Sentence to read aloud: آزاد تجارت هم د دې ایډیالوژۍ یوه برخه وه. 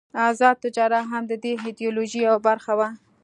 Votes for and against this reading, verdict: 3, 0, accepted